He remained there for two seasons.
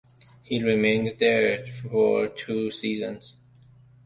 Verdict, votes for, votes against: accepted, 2, 0